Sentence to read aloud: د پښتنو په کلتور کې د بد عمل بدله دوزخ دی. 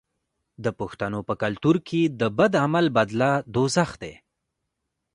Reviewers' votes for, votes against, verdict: 2, 1, accepted